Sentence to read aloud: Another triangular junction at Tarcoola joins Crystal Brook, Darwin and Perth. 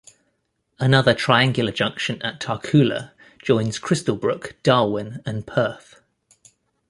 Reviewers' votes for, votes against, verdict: 2, 1, accepted